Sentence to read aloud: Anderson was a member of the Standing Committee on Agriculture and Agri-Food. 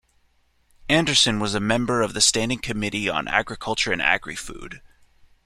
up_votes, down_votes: 2, 0